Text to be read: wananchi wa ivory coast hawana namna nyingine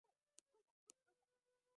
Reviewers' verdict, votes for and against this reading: rejected, 0, 4